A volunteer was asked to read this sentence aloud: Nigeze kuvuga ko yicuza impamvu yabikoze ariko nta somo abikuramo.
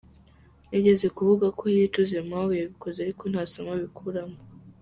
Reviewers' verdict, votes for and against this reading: accepted, 2, 0